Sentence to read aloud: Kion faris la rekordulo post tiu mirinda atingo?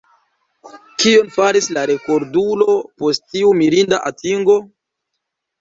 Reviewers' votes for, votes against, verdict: 1, 2, rejected